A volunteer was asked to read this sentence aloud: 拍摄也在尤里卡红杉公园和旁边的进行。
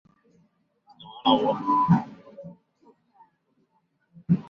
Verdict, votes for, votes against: rejected, 0, 2